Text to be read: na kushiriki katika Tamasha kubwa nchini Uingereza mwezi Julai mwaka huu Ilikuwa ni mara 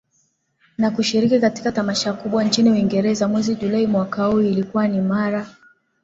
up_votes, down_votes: 2, 0